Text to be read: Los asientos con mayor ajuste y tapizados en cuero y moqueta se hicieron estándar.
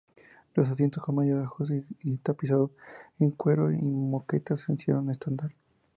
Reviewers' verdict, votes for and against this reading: rejected, 0, 2